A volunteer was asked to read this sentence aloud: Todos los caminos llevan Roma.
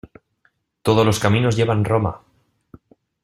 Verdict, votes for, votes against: accepted, 2, 0